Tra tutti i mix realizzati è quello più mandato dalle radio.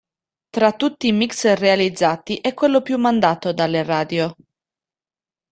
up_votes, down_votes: 2, 0